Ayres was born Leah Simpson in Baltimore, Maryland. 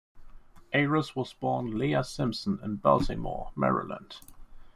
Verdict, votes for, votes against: accepted, 6, 0